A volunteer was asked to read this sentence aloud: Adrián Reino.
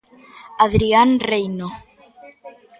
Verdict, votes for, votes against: accepted, 2, 0